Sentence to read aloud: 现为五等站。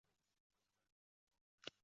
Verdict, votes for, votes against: rejected, 0, 5